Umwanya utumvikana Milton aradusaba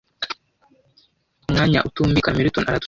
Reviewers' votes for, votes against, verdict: 0, 2, rejected